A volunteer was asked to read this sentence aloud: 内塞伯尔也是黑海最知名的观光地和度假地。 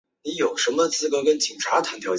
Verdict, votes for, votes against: rejected, 0, 3